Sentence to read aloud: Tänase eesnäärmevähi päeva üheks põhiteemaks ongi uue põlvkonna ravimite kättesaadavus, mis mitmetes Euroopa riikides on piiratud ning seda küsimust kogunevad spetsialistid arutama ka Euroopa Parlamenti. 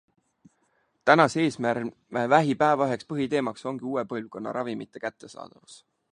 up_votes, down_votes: 0, 2